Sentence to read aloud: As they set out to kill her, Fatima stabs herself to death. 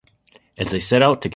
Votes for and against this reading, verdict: 0, 2, rejected